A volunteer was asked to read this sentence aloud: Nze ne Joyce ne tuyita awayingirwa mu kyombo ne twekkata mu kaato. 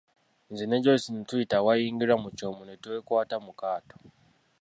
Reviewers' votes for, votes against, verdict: 1, 2, rejected